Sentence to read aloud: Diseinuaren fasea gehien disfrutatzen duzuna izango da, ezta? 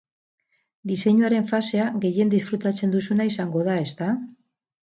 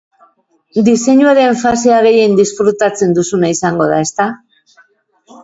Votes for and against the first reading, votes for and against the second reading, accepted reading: 0, 2, 2, 0, second